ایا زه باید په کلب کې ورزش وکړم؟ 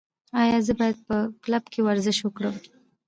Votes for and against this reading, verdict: 3, 0, accepted